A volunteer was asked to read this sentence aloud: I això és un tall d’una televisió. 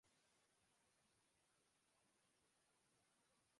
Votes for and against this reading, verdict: 1, 2, rejected